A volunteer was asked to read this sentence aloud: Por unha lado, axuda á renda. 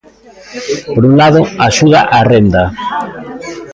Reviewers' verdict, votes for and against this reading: rejected, 1, 2